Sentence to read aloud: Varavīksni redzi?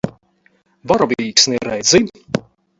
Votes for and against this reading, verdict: 2, 4, rejected